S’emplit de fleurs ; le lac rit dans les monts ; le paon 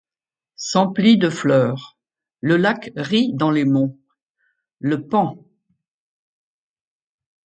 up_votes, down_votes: 2, 0